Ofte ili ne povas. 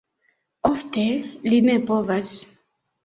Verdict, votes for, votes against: rejected, 1, 2